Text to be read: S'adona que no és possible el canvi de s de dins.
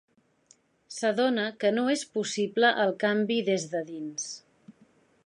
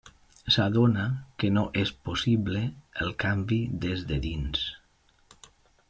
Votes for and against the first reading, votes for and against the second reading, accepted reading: 0, 2, 2, 0, second